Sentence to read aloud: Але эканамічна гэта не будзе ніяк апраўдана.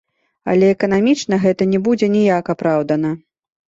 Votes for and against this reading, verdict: 2, 1, accepted